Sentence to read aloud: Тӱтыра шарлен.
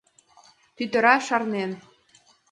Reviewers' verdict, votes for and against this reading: accepted, 2, 0